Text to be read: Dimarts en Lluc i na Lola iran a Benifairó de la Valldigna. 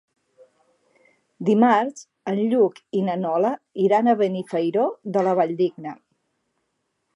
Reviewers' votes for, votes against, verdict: 0, 2, rejected